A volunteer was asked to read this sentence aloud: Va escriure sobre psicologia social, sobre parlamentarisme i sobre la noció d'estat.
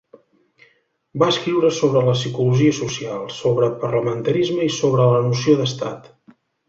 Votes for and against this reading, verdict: 0, 2, rejected